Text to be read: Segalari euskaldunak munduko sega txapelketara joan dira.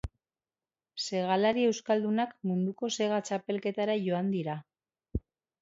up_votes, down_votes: 2, 0